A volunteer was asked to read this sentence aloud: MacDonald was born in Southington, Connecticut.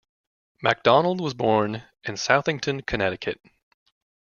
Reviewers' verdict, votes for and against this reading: accepted, 2, 0